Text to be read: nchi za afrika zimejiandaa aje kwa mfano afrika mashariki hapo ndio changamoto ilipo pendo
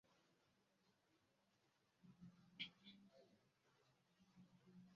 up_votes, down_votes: 0, 2